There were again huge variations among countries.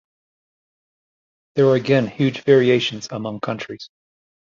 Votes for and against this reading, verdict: 2, 0, accepted